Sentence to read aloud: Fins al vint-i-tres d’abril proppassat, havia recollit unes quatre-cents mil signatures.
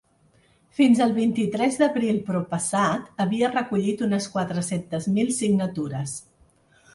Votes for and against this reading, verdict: 2, 0, accepted